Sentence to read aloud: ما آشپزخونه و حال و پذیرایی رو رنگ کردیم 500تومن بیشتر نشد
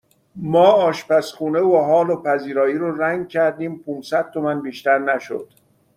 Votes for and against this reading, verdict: 0, 2, rejected